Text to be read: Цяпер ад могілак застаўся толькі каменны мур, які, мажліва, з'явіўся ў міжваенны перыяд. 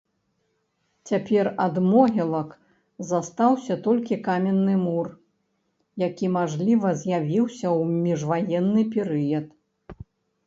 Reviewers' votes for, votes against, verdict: 1, 2, rejected